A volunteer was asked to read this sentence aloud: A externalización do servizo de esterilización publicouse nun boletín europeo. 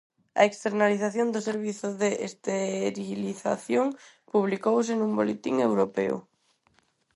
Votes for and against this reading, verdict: 4, 0, accepted